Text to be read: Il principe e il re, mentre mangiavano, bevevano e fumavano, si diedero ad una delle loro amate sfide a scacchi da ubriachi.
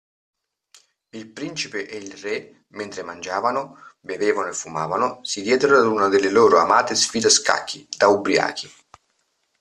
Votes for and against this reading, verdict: 1, 2, rejected